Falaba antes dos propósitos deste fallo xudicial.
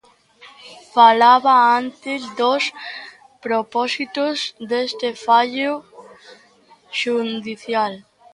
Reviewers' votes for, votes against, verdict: 0, 2, rejected